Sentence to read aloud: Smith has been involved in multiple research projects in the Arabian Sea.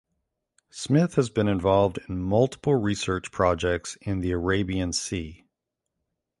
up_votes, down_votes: 3, 0